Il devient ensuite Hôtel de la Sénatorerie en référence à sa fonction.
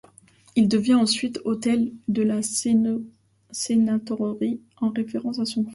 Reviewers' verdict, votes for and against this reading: rejected, 1, 2